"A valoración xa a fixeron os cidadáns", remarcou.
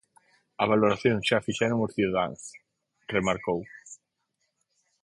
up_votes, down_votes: 2, 4